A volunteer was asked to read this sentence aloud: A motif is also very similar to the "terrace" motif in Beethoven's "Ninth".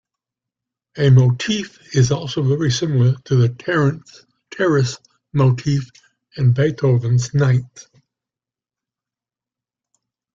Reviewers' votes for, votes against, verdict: 0, 2, rejected